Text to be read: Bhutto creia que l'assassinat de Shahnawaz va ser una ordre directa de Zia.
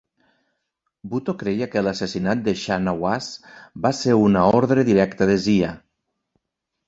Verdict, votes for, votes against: accepted, 2, 0